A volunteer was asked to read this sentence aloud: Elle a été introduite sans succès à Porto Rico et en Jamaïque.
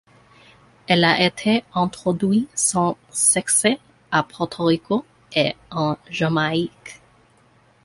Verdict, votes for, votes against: accepted, 2, 1